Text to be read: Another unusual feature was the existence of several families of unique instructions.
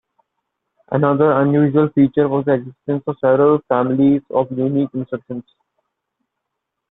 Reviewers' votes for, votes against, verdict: 2, 0, accepted